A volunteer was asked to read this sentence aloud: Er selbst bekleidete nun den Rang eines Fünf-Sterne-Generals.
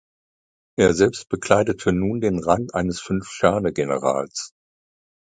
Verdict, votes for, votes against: accepted, 2, 0